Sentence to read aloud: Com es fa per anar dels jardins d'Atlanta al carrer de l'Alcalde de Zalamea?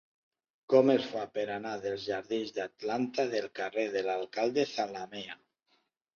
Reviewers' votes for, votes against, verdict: 0, 2, rejected